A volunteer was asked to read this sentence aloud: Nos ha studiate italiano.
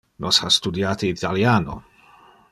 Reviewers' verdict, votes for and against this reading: accepted, 2, 0